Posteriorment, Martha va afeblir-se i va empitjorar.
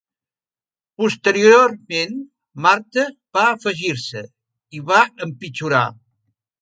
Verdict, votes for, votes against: rejected, 0, 2